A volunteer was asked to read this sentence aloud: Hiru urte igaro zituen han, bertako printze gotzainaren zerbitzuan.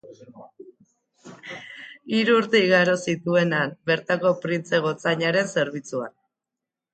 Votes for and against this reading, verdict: 4, 0, accepted